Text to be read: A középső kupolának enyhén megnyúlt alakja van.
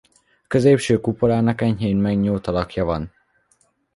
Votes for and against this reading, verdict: 2, 0, accepted